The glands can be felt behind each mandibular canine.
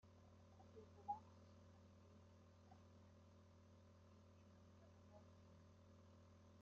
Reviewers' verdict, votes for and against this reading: rejected, 0, 2